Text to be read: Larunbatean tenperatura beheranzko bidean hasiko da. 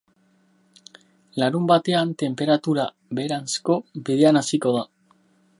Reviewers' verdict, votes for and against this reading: accepted, 4, 0